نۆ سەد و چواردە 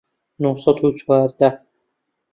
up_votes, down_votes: 2, 0